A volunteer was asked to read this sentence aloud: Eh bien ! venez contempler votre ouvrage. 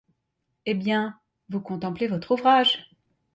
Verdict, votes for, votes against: rejected, 1, 2